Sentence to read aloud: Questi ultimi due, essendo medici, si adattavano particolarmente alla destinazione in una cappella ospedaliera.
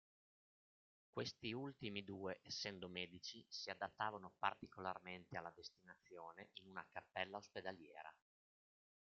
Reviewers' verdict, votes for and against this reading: rejected, 1, 2